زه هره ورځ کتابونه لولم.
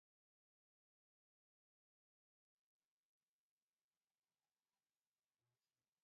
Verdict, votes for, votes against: rejected, 0, 4